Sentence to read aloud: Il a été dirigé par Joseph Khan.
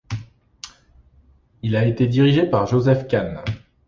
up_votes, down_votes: 2, 0